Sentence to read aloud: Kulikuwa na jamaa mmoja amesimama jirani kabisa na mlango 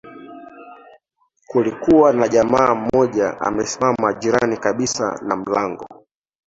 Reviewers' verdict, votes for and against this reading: accepted, 3, 2